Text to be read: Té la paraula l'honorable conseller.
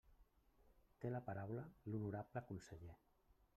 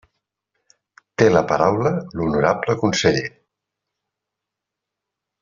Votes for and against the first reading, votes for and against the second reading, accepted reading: 1, 2, 3, 0, second